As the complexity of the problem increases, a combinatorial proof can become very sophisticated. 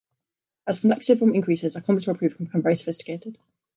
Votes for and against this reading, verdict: 0, 2, rejected